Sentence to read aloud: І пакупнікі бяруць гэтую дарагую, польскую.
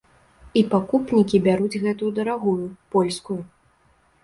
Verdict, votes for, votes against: rejected, 0, 3